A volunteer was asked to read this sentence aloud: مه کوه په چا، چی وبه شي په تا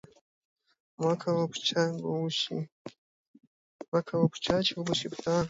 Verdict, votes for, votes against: rejected, 1, 2